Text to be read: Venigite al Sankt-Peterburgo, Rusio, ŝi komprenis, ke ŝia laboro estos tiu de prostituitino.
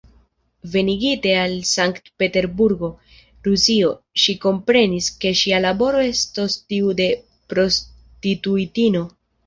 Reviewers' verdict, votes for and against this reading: accepted, 2, 0